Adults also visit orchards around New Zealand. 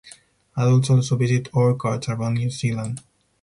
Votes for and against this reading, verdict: 2, 2, rejected